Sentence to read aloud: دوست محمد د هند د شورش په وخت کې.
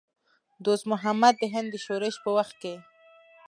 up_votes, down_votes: 2, 0